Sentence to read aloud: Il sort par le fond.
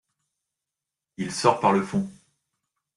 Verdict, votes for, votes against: accepted, 2, 0